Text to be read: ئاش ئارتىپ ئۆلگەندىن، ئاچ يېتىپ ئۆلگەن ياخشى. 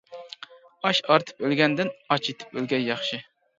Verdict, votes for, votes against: accepted, 2, 0